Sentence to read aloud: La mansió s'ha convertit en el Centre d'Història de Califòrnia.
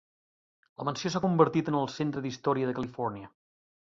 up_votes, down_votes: 3, 1